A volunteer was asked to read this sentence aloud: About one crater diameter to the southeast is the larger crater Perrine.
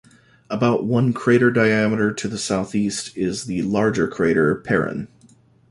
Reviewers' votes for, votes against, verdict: 2, 0, accepted